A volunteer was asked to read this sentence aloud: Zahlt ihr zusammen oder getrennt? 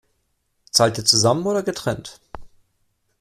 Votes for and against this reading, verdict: 2, 0, accepted